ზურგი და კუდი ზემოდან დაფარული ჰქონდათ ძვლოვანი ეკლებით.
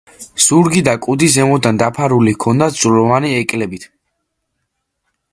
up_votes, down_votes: 2, 0